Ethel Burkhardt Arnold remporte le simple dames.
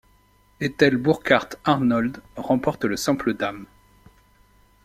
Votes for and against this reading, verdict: 2, 0, accepted